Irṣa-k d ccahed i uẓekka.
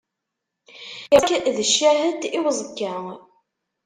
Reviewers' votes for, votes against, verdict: 0, 2, rejected